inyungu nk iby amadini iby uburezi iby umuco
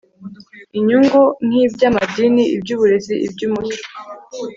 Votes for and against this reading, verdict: 2, 0, accepted